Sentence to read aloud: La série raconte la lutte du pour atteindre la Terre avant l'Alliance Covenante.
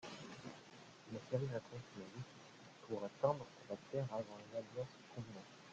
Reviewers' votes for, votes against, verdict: 1, 2, rejected